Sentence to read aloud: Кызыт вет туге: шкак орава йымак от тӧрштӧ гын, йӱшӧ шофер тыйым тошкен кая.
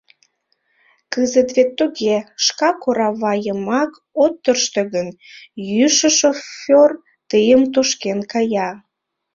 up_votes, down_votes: 1, 2